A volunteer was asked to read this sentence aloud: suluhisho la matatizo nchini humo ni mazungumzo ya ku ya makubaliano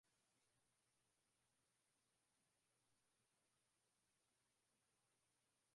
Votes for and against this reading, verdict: 1, 9, rejected